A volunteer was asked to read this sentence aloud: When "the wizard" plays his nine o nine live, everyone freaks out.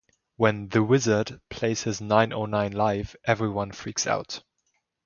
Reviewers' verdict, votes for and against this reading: accepted, 2, 0